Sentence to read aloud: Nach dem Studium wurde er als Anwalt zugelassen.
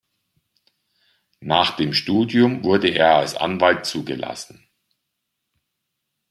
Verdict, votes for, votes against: accepted, 2, 1